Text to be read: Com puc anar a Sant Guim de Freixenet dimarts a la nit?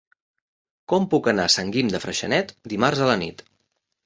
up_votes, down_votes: 2, 0